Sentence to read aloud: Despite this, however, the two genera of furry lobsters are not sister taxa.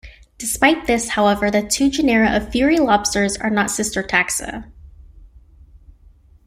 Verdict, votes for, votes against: rejected, 1, 2